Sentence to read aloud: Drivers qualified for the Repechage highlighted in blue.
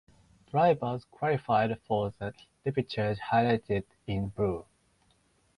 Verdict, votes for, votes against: rejected, 2, 2